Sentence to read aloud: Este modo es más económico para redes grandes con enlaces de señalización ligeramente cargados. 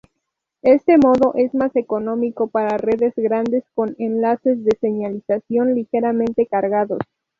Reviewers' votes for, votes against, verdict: 0, 2, rejected